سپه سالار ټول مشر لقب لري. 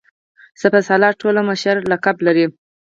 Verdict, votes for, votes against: rejected, 0, 4